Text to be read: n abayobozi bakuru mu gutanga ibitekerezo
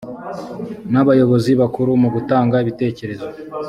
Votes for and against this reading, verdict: 2, 0, accepted